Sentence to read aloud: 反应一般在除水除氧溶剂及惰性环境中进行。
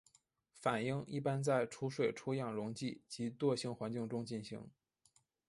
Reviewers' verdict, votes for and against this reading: rejected, 0, 2